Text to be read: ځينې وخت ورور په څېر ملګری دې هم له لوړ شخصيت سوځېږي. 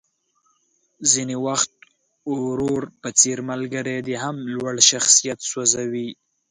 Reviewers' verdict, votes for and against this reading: rejected, 1, 2